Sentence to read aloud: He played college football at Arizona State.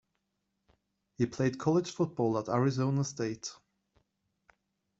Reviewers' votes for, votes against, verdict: 2, 0, accepted